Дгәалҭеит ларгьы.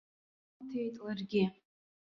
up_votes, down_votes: 1, 2